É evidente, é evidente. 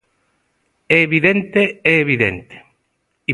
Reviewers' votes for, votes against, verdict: 1, 2, rejected